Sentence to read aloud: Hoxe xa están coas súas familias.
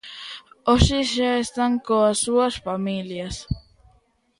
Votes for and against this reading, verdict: 2, 0, accepted